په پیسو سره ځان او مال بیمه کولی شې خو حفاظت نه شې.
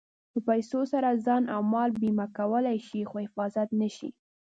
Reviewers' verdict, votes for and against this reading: rejected, 1, 2